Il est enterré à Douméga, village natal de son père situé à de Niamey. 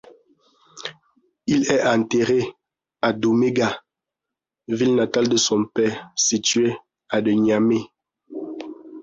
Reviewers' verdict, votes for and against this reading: rejected, 1, 2